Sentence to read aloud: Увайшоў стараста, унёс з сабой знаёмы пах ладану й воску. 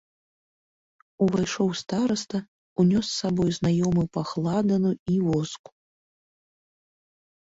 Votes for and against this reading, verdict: 2, 0, accepted